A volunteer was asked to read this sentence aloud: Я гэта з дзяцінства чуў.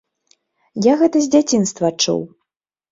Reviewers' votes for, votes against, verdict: 2, 0, accepted